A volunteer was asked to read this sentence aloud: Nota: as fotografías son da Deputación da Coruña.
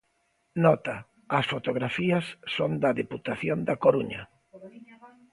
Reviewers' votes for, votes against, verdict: 1, 2, rejected